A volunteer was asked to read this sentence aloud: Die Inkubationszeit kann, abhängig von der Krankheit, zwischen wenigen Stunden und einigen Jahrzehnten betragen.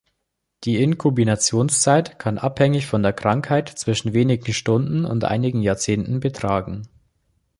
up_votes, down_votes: 0, 2